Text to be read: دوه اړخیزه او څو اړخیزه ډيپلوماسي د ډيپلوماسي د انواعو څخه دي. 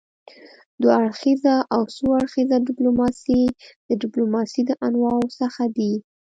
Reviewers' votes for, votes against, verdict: 2, 0, accepted